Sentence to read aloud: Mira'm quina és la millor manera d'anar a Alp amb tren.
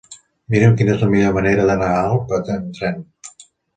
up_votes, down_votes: 0, 2